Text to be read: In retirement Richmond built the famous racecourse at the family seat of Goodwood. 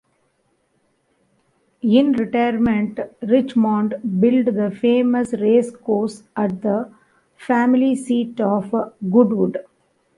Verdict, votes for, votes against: accepted, 2, 0